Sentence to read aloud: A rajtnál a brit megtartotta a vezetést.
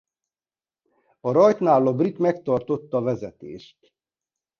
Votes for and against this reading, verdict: 1, 2, rejected